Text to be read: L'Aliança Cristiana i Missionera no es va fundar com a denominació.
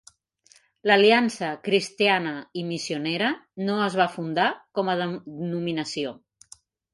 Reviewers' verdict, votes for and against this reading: rejected, 1, 2